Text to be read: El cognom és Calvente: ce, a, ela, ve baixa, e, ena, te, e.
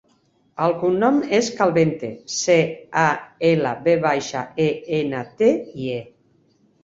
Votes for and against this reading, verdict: 2, 3, rejected